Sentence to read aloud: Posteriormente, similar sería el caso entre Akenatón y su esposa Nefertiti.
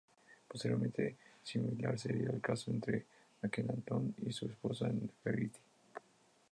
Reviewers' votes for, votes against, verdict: 0, 2, rejected